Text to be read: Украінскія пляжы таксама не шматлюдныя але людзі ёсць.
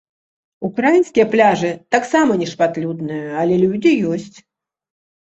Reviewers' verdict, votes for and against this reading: accepted, 2, 0